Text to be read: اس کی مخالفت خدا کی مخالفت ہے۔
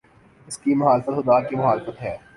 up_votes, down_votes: 2, 3